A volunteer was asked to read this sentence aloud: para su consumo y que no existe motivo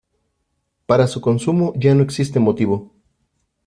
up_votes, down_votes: 0, 2